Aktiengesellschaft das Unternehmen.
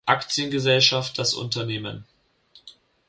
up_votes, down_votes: 2, 0